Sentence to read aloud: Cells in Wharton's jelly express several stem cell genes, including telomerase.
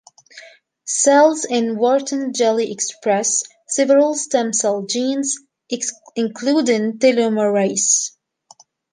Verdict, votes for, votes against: rejected, 1, 2